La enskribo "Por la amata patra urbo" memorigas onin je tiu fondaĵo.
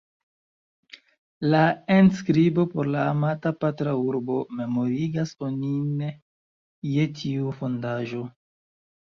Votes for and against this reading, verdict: 0, 3, rejected